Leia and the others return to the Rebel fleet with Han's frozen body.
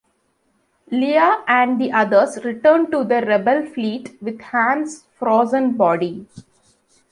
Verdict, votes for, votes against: accepted, 2, 0